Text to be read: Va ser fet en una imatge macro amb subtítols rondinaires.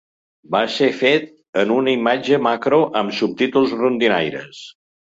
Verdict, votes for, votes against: accepted, 2, 0